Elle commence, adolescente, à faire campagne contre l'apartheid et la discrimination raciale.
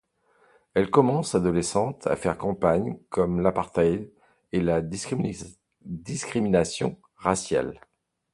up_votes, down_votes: 1, 2